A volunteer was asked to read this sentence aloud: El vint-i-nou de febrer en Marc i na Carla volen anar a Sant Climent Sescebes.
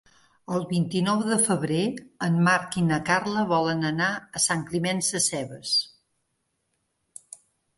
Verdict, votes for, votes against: accepted, 4, 1